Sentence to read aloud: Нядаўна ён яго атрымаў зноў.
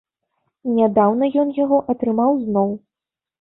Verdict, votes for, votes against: rejected, 1, 2